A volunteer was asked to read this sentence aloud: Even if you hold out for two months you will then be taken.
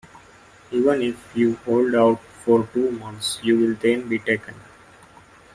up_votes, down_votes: 1, 2